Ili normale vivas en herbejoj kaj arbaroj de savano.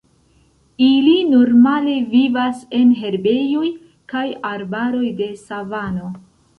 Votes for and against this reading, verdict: 1, 2, rejected